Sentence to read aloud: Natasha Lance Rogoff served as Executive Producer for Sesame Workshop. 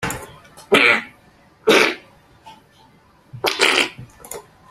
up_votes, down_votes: 0, 2